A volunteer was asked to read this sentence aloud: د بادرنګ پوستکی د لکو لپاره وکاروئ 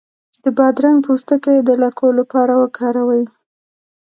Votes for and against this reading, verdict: 0, 2, rejected